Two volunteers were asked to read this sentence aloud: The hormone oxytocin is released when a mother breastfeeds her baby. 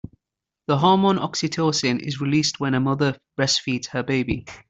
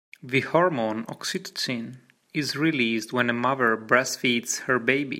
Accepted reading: first